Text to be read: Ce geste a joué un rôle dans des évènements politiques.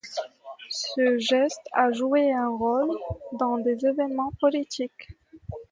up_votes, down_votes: 2, 0